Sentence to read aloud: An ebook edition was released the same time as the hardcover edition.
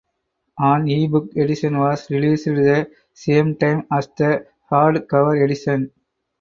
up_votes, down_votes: 4, 0